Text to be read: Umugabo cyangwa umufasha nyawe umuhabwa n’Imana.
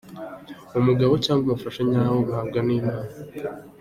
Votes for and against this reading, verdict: 2, 0, accepted